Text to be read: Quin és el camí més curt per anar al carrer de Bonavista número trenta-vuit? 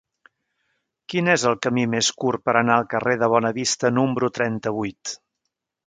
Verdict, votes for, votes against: rejected, 0, 2